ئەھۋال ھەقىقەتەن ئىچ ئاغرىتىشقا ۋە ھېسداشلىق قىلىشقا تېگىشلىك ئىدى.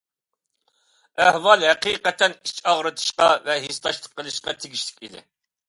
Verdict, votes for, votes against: accepted, 2, 0